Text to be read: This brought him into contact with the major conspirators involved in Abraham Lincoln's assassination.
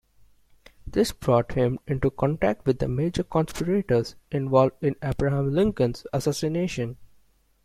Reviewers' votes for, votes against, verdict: 2, 0, accepted